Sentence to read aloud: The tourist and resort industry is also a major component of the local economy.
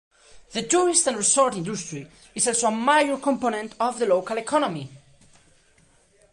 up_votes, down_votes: 0, 2